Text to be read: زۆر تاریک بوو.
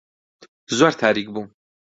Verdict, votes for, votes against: accepted, 2, 0